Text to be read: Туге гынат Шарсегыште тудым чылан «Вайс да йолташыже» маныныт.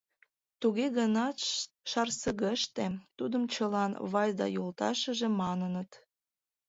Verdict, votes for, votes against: rejected, 0, 2